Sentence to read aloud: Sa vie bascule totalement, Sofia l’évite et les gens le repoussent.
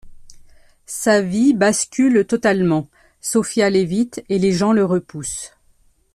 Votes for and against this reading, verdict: 2, 0, accepted